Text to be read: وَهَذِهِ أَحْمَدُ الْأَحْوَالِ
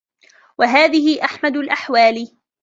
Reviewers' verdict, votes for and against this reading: accepted, 2, 0